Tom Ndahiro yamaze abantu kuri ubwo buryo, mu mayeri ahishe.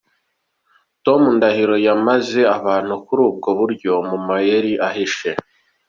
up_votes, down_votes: 2, 0